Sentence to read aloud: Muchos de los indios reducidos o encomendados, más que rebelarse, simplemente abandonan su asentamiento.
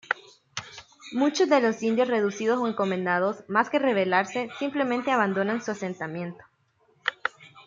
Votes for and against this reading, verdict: 1, 2, rejected